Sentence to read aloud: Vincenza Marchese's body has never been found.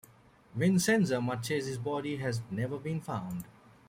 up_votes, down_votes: 0, 2